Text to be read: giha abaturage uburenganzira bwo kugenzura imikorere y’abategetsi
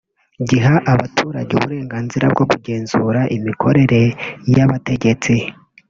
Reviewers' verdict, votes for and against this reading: rejected, 1, 2